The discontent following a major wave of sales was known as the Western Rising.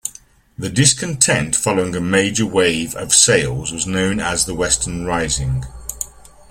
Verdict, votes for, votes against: accepted, 2, 0